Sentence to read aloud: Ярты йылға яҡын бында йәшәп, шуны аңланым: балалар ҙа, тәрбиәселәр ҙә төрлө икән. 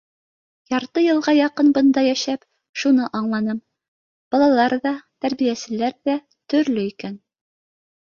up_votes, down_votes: 2, 0